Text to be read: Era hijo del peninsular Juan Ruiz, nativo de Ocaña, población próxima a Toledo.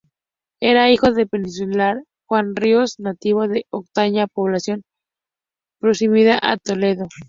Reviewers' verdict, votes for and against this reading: rejected, 0, 4